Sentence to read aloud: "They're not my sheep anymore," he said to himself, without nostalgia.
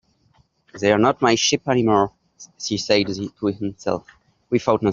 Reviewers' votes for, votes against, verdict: 2, 3, rejected